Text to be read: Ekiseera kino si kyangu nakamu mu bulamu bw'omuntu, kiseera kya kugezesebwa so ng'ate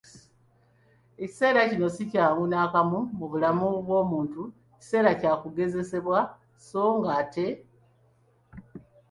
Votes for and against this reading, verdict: 2, 0, accepted